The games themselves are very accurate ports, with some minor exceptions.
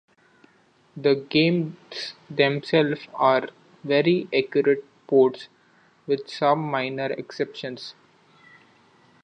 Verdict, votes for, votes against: accepted, 2, 0